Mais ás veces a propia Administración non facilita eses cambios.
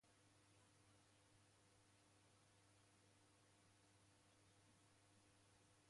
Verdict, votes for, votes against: rejected, 0, 2